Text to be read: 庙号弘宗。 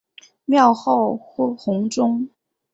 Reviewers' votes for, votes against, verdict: 3, 1, accepted